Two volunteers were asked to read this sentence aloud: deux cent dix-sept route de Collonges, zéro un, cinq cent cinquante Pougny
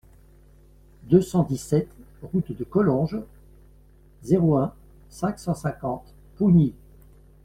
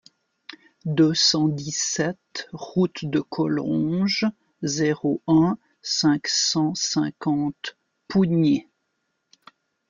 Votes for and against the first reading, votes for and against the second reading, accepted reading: 2, 1, 0, 2, first